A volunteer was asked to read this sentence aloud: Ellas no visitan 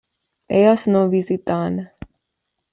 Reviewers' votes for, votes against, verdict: 2, 1, accepted